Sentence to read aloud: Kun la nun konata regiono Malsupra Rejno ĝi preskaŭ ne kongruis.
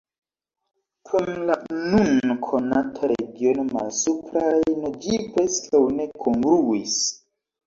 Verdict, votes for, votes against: accepted, 3, 2